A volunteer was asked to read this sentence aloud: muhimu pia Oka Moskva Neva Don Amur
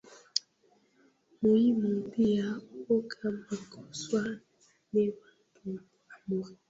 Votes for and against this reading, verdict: 0, 2, rejected